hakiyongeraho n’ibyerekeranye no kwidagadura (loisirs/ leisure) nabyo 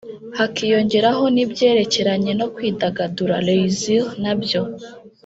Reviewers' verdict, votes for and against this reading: rejected, 0, 2